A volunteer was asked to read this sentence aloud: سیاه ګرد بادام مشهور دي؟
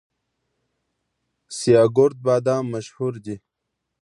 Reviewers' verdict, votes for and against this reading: accepted, 2, 0